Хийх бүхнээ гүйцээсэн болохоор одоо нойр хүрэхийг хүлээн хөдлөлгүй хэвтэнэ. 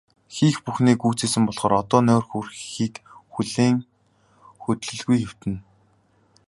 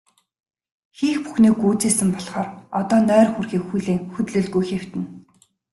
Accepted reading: first